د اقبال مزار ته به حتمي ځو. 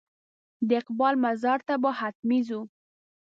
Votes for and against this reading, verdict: 2, 0, accepted